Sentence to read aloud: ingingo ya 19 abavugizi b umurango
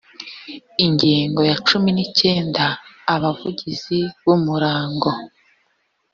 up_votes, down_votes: 0, 2